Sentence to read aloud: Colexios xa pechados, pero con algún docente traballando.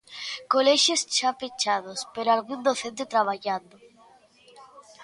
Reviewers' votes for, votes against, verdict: 0, 2, rejected